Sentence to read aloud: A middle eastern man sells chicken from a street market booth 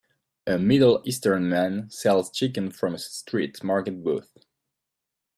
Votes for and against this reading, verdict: 2, 1, accepted